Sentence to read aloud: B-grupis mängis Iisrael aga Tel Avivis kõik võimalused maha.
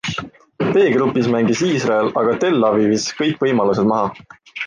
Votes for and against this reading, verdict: 2, 0, accepted